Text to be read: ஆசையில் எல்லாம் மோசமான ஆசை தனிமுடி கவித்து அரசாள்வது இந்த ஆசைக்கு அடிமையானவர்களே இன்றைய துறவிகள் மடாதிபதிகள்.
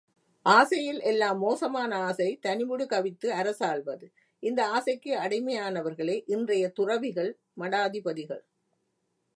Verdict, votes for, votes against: accepted, 2, 0